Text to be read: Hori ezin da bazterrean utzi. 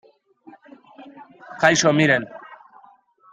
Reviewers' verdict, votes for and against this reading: rejected, 0, 2